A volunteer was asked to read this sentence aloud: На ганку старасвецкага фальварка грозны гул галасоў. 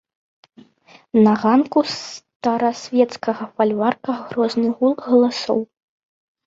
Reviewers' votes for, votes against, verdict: 2, 0, accepted